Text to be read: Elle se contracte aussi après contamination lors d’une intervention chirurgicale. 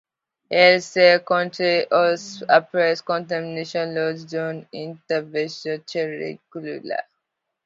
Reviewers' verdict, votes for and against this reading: accepted, 2, 1